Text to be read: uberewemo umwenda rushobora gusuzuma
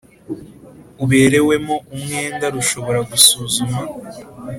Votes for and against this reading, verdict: 3, 0, accepted